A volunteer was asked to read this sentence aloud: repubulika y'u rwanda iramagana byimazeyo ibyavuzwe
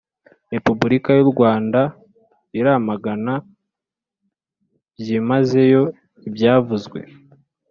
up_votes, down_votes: 2, 0